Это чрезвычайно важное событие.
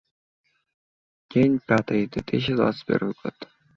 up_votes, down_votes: 0, 2